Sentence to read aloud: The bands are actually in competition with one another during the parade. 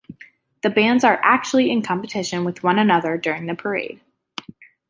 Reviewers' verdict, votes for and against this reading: accepted, 2, 0